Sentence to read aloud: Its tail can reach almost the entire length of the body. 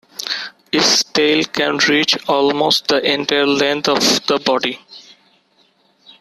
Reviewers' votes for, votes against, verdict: 0, 2, rejected